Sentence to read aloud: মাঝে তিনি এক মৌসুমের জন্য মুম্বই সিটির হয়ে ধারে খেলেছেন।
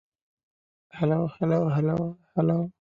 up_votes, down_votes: 0, 2